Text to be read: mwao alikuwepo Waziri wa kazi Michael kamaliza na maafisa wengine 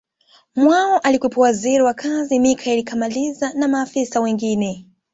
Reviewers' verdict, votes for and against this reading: accepted, 2, 0